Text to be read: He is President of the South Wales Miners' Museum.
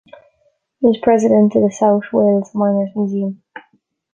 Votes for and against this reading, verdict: 2, 0, accepted